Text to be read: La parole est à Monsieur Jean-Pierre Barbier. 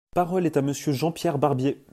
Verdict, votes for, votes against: rejected, 1, 2